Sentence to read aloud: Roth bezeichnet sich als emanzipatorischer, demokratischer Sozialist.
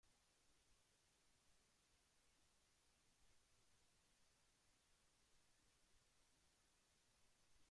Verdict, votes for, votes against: rejected, 0, 2